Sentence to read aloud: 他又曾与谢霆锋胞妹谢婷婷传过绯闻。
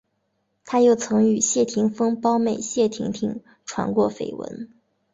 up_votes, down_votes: 4, 1